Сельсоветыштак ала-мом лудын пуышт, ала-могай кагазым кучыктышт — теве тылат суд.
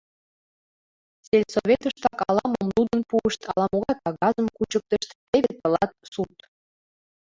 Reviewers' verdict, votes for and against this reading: accepted, 2, 1